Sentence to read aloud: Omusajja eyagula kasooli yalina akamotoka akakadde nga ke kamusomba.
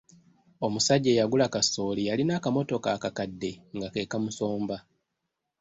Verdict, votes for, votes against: accepted, 3, 0